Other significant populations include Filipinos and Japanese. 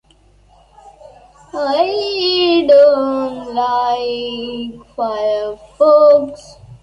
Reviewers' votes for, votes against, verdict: 0, 3, rejected